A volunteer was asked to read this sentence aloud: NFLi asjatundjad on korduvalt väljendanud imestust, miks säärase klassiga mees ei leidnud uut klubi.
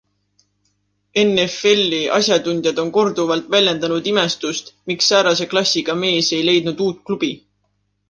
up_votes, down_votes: 2, 0